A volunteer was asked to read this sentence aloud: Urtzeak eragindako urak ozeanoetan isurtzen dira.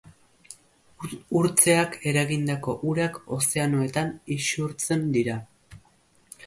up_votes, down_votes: 2, 0